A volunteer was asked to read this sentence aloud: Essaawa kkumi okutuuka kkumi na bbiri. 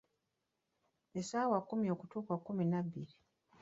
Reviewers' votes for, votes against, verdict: 1, 2, rejected